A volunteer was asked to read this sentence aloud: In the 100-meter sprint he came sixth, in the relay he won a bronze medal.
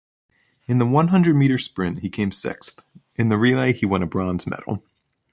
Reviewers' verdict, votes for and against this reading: rejected, 0, 2